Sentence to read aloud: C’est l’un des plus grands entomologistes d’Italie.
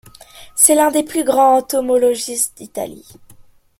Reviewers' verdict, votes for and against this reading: accepted, 2, 0